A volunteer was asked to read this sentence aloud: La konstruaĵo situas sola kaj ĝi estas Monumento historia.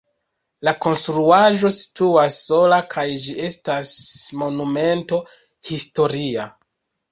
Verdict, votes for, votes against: accepted, 2, 0